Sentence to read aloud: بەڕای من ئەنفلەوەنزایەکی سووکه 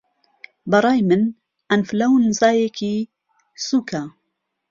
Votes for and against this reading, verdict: 1, 2, rejected